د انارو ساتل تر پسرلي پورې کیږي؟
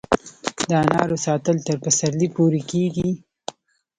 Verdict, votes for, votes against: accepted, 2, 0